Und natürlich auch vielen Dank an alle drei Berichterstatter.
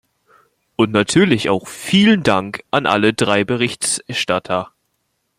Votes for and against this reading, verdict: 0, 2, rejected